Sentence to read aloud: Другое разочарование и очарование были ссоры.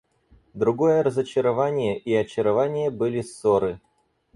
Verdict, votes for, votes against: accepted, 4, 0